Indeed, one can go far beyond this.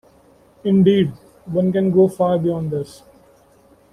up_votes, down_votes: 1, 2